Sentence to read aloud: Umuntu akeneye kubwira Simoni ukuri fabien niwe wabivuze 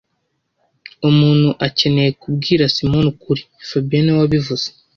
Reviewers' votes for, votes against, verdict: 1, 2, rejected